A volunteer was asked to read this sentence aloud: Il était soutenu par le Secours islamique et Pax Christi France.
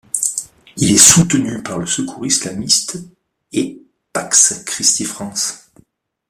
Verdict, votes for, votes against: rejected, 0, 2